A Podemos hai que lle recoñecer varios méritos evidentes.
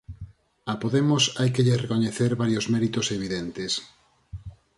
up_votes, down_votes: 4, 0